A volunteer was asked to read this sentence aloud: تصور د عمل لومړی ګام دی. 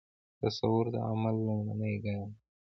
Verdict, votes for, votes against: accepted, 2, 1